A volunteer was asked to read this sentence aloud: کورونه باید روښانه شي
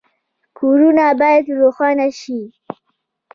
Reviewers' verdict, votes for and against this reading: accepted, 2, 0